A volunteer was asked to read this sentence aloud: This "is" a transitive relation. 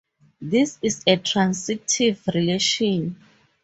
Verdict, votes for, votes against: rejected, 2, 2